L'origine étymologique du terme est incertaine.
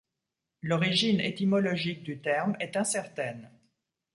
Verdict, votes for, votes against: accepted, 2, 0